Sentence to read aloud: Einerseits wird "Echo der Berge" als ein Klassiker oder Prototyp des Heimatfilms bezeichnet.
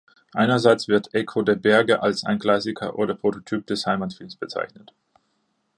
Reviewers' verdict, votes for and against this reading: rejected, 1, 2